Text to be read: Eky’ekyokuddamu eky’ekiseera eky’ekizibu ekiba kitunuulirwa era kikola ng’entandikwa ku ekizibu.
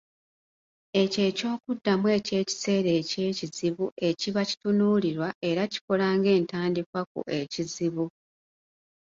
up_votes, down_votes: 2, 0